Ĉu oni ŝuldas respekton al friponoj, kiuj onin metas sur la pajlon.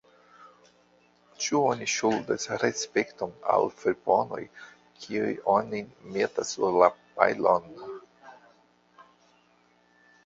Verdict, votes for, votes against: rejected, 1, 2